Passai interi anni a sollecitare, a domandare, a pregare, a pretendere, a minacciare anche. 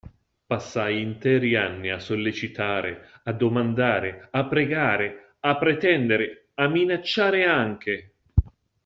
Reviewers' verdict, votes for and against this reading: accepted, 2, 0